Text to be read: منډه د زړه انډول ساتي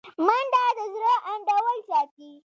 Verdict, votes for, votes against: accepted, 2, 1